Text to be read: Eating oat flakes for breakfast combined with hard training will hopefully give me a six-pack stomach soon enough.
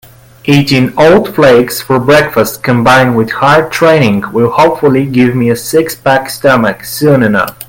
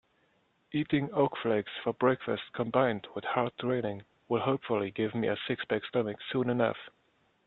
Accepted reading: first